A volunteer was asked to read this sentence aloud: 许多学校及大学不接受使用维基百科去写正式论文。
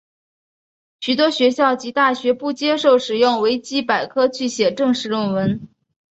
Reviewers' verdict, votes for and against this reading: rejected, 0, 2